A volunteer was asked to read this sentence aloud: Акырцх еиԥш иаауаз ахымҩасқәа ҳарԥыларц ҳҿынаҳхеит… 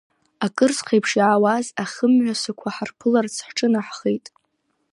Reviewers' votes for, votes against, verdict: 2, 0, accepted